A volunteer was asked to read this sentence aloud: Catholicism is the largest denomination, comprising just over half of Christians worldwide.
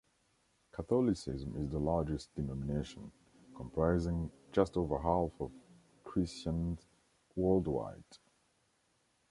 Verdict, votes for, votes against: rejected, 1, 2